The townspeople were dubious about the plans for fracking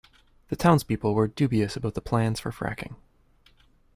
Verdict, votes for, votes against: accepted, 2, 0